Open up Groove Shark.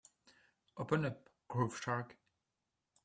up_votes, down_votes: 2, 0